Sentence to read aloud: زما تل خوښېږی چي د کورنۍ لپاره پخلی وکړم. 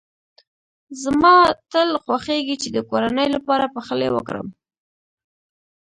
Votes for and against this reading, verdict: 1, 2, rejected